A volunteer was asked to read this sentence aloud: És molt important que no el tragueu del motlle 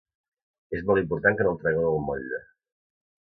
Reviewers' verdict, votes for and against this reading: accepted, 2, 0